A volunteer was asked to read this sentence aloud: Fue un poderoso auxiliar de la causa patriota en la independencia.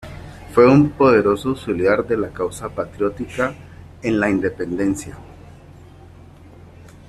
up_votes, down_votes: 0, 2